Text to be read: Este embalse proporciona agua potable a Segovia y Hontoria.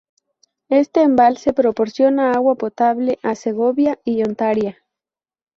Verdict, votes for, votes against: rejected, 0, 2